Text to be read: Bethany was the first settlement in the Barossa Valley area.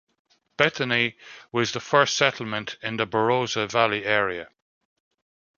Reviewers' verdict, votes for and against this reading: accepted, 2, 0